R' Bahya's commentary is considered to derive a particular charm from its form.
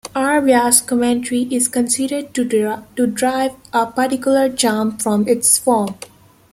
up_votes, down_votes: 0, 2